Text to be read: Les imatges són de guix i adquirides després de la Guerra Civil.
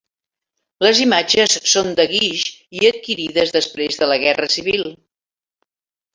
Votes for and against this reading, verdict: 2, 0, accepted